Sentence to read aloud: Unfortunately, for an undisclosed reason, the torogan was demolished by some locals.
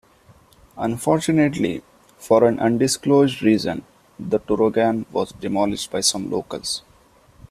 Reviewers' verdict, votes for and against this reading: accepted, 2, 0